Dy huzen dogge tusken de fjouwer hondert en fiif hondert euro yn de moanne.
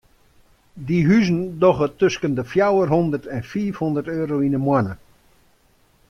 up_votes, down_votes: 2, 0